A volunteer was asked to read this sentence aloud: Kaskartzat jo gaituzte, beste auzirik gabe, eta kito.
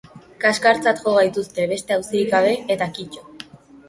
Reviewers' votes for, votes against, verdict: 4, 0, accepted